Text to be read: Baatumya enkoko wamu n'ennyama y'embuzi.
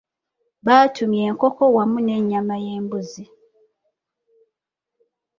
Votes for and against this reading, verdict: 3, 0, accepted